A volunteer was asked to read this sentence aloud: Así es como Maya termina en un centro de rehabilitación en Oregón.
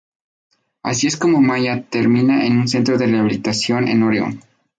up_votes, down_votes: 2, 2